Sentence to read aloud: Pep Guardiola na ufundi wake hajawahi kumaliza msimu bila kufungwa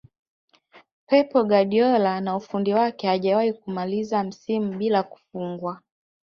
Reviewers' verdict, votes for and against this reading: accepted, 2, 1